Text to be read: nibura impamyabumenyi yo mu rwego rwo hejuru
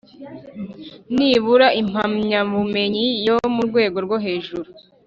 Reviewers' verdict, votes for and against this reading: accepted, 3, 0